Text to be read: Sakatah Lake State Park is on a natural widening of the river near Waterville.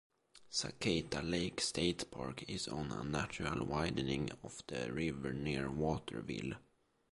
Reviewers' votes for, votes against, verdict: 2, 0, accepted